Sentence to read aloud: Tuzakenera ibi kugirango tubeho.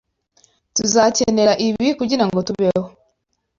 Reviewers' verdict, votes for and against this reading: accepted, 2, 0